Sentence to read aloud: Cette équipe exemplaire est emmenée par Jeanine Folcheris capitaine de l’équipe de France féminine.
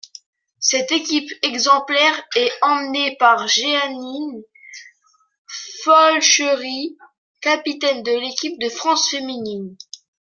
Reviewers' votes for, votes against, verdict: 1, 2, rejected